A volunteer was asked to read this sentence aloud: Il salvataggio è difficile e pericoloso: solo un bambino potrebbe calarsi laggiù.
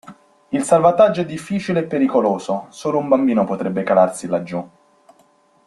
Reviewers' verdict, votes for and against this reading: accepted, 2, 0